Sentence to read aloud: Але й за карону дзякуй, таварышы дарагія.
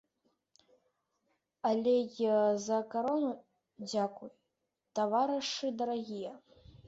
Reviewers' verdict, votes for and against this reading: accepted, 2, 0